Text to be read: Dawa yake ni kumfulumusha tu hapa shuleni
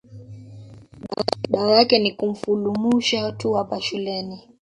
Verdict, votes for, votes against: rejected, 1, 3